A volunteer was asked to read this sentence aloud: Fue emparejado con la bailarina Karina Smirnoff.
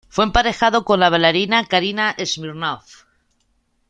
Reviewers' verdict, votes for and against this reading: accepted, 2, 0